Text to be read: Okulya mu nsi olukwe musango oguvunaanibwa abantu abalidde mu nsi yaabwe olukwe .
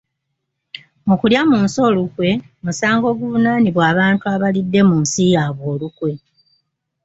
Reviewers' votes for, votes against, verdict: 0, 2, rejected